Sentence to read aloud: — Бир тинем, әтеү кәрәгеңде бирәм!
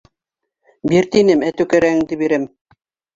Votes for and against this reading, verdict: 2, 1, accepted